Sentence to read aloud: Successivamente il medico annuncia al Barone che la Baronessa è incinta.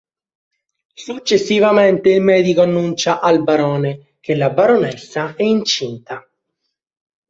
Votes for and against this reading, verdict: 2, 0, accepted